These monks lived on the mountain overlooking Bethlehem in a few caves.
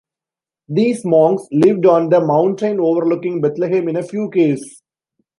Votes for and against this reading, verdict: 2, 1, accepted